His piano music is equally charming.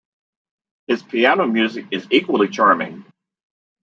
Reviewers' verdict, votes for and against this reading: accepted, 2, 0